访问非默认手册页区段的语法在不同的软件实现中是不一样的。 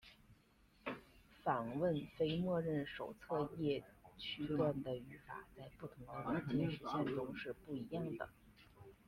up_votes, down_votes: 1, 2